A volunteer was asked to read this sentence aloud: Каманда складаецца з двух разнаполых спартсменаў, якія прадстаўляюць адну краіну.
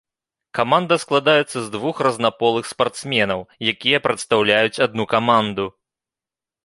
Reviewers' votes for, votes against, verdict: 1, 2, rejected